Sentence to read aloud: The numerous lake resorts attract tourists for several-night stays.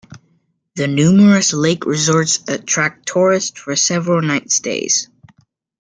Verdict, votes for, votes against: accepted, 2, 0